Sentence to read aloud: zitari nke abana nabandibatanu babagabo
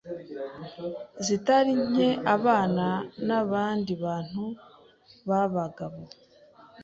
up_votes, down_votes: 0, 2